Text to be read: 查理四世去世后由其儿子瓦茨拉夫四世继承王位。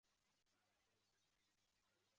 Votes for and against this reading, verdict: 0, 2, rejected